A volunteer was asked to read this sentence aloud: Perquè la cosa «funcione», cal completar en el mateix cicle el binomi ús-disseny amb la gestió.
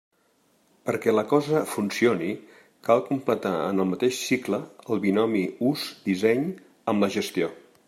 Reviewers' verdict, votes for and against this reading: rejected, 1, 2